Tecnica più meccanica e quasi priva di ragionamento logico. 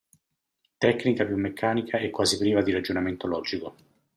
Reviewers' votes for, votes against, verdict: 2, 1, accepted